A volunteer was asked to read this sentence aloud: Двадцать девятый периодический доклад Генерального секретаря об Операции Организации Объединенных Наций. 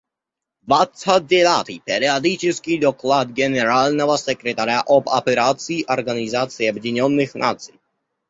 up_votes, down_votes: 0, 2